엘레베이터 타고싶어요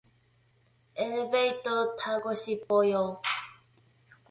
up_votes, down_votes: 2, 0